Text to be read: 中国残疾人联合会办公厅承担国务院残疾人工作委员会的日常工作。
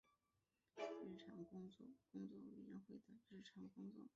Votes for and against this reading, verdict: 0, 2, rejected